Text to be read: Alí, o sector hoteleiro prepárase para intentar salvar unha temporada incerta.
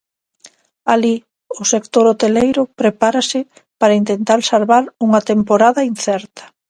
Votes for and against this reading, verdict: 2, 0, accepted